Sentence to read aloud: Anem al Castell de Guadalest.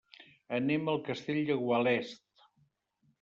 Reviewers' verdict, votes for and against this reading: rejected, 0, 2